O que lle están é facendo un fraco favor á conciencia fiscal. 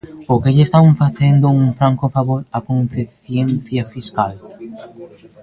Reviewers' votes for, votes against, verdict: 0, 2, rejected